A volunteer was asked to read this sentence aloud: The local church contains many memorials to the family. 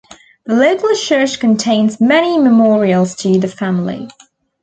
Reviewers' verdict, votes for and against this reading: accepted, 2, 0